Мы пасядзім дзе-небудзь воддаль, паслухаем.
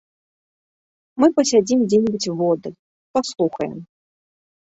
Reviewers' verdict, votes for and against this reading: accepted, 2, 0